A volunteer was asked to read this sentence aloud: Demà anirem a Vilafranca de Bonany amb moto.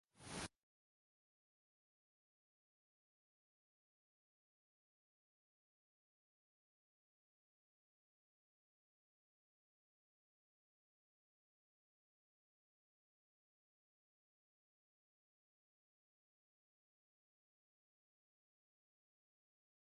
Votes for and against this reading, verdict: 0, 2, rejected